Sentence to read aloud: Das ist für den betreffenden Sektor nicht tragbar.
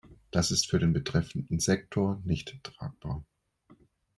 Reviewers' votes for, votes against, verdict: 2, 0, accepted